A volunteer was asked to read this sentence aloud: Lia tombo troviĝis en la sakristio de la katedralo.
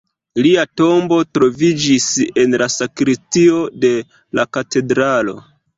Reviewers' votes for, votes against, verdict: 1, 2, rejected